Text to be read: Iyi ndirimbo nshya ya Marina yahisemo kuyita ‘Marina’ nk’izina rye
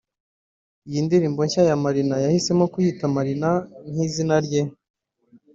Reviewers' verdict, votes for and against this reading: accepted, 2, 0